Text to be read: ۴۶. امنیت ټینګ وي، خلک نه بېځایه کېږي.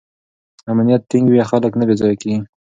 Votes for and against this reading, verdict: 0, 2, rejected